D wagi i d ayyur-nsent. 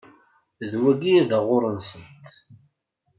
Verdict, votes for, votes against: rejected, 0, 2